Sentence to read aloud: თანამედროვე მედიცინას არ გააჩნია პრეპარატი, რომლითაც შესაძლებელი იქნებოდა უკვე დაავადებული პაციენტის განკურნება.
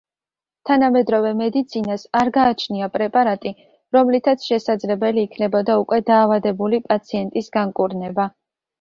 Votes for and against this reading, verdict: 2, 0, accepted